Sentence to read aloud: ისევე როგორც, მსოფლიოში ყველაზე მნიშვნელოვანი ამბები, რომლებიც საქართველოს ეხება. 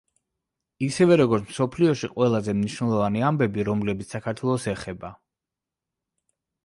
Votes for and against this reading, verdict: 2, 1, accepted